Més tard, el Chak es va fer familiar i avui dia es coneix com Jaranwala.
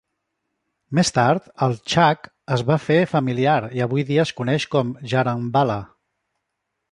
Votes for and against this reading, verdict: 2, 0, accepted